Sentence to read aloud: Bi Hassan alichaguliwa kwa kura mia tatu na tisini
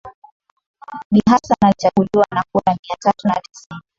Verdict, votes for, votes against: rejected, 0, 2